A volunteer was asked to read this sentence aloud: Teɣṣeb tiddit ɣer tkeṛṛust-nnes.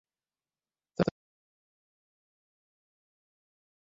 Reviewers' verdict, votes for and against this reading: rejected, 0, 2